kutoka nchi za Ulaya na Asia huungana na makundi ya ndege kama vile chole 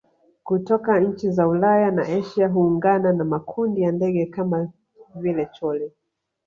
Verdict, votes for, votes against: rejected, 0, 2